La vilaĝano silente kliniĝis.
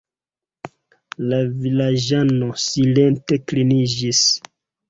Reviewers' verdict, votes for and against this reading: accepted, 2, 1